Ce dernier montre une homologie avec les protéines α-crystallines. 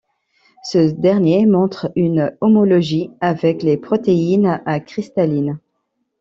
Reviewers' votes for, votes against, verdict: 0, 3, rejected